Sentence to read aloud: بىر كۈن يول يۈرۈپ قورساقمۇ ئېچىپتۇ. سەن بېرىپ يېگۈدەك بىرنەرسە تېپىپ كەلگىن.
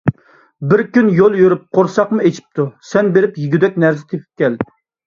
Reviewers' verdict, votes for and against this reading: rejected, 0, 2